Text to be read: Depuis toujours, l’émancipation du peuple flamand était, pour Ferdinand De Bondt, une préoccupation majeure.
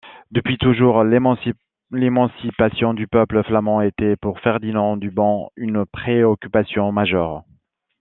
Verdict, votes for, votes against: rejected, 0, 2